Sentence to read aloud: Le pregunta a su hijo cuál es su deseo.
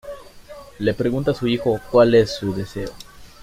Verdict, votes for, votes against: accepted, 2, 0